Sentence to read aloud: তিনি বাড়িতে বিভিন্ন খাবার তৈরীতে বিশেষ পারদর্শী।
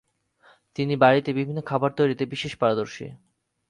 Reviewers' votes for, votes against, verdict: 4, 0, accepted